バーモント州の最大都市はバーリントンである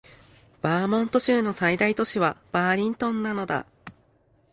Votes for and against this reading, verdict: 0, 2, rejected